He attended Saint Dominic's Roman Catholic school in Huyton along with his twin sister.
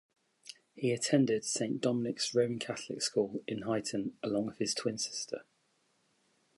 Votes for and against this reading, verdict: 2, 0, accepted